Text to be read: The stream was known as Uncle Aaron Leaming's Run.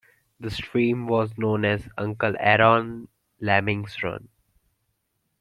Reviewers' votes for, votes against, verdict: 1, 2, rejected